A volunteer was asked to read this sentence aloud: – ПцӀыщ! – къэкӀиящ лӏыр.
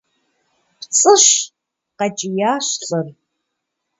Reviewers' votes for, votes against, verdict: 2, 0, accepted